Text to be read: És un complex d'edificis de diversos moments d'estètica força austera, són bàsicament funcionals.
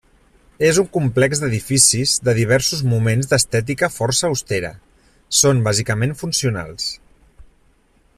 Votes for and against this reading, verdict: 3, 0, accepted